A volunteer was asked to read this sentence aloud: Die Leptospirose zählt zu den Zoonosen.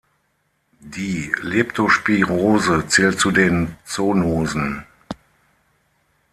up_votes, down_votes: 0, 6